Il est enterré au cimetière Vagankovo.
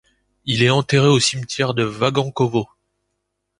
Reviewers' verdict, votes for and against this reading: rejected, 0, 2